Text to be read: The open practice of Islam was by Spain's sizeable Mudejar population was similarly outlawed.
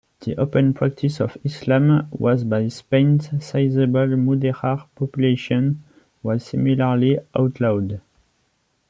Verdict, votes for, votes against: rejected, 0, 2